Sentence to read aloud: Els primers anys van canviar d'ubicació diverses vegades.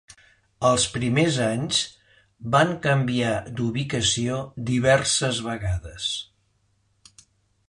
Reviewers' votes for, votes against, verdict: 2, 0, accepted